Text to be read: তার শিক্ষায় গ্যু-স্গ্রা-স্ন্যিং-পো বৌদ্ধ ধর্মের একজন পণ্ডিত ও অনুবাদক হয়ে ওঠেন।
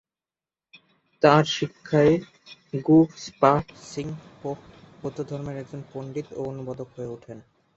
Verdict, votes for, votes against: rejected, 1, 2